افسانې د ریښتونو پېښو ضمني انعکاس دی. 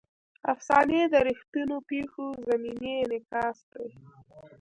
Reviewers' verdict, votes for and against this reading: rejected, 0, 2